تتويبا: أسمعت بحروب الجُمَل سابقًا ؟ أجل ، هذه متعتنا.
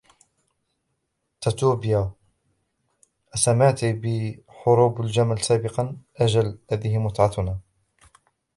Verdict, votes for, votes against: rejected, 0, 2